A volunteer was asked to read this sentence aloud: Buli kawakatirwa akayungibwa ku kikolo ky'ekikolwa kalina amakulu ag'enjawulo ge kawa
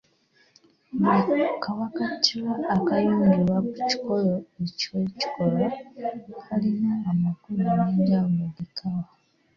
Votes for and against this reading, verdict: 1, 2, rejected